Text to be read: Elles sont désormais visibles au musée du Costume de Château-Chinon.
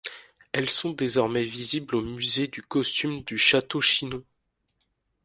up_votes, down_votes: 2, 1